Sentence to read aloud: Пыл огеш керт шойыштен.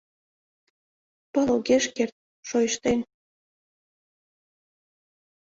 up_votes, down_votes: 2, 0